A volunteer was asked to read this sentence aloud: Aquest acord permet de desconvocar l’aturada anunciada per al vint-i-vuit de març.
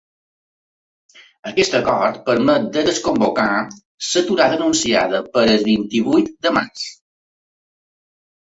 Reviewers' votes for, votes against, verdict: 0, 2, rejected